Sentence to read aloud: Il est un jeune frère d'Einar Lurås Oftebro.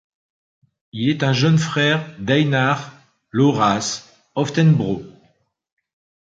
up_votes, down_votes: 1, 2